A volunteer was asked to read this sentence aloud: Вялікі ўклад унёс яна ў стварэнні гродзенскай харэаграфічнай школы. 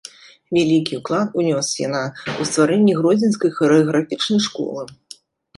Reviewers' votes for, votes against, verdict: 2, 1, accepted